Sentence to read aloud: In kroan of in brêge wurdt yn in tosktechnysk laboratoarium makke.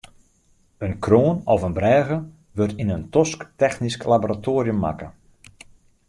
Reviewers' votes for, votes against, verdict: 2, 0, accepted